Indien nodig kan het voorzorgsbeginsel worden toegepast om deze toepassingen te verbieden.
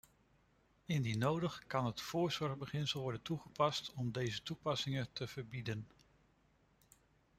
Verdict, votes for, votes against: accepted, 2, 0